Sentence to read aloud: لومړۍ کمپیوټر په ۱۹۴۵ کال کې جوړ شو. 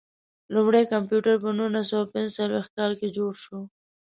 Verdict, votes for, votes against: rejected, 0, 2